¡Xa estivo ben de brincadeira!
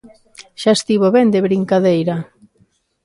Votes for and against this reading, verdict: 2, 0, accepted